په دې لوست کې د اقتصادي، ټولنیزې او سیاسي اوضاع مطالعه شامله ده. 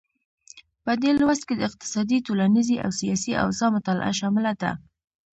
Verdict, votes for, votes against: accepted, 2, 0